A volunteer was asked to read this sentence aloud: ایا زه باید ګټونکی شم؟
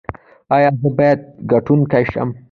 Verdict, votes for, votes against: accepted, 2, 0